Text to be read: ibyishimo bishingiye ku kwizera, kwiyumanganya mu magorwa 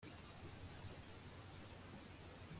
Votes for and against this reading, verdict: 1, 2, rejected